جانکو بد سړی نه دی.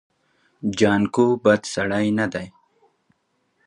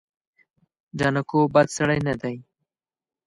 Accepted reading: first